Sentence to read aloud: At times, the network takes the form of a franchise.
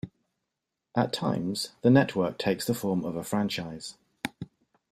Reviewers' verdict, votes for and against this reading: accepted, 2, 0